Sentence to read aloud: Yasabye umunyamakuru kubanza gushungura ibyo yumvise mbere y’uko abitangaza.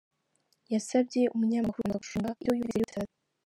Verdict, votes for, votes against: rejected, 0, 4